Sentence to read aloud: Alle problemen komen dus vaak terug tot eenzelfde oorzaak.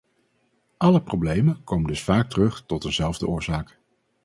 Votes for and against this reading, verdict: 2, 2, rejected